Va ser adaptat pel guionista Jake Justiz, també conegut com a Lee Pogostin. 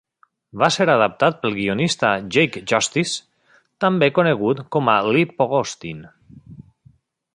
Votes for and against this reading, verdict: 2, 0, accepted